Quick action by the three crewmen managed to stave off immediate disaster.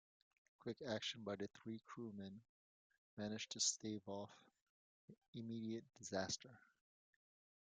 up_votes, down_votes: 1, 2